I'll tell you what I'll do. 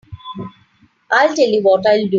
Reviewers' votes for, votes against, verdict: 3, 0, accepted